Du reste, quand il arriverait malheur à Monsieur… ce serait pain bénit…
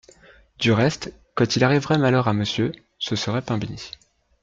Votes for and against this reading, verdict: 2, 0, accepted